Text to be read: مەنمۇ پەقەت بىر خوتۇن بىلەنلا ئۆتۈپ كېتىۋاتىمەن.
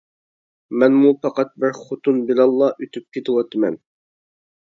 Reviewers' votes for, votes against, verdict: 2, 0, accepted